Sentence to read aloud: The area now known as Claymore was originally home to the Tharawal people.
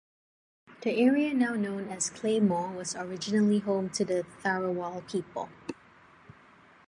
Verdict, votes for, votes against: accepted, 2, 0